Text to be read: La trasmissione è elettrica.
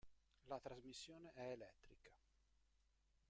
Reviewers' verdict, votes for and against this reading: rejected, 0, 2